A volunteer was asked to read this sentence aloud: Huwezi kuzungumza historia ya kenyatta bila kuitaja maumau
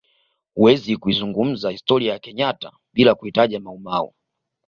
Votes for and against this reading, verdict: 2, 0, accepted